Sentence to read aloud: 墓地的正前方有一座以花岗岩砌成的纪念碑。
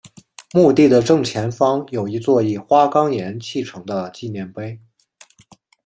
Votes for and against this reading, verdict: 2, 0, accepted